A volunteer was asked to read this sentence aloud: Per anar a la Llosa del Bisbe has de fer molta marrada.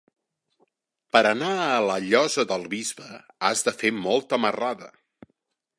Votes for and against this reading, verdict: 3, 0, accepted